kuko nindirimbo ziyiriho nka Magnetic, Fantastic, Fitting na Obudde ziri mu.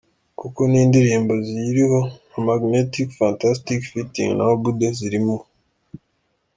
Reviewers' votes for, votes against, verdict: 2, 0, accepted